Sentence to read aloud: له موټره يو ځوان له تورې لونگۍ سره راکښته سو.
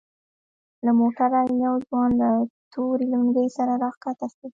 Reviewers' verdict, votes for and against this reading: rejected, 1, 2